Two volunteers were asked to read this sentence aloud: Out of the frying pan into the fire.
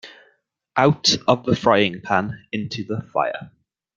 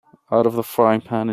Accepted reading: first